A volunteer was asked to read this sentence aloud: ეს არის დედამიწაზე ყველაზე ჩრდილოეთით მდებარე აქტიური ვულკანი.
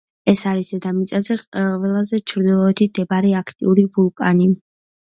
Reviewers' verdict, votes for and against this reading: rejected, 1, 2